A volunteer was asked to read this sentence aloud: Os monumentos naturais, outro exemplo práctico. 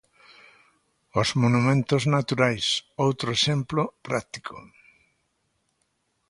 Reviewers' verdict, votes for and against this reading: accepted, 2, 0